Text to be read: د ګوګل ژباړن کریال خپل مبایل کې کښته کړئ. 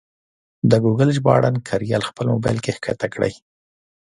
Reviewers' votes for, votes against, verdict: 2, 0, accepted